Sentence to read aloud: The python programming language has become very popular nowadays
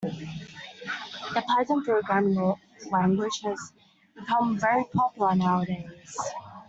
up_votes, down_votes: 0, 2